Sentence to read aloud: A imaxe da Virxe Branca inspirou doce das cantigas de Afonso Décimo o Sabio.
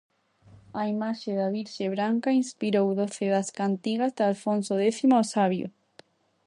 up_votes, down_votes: 0, 2